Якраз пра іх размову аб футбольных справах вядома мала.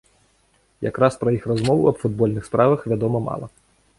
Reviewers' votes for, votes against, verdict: 1, 2, rejected